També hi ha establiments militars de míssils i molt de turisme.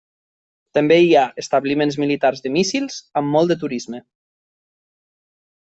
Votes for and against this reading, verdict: 0, 2, rejected